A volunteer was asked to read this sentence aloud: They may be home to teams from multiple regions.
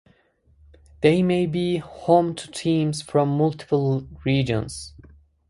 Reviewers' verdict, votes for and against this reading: accepted, 4, 0